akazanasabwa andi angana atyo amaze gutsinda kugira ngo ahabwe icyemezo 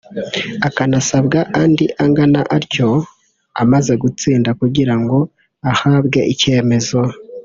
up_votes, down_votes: 1, 2